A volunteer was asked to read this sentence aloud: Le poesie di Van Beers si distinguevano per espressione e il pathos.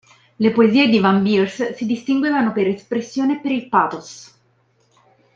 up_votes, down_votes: 0, 3